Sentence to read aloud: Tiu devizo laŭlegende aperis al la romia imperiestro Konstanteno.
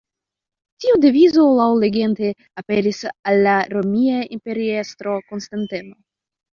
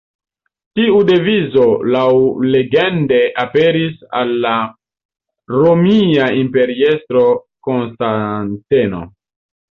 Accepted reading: second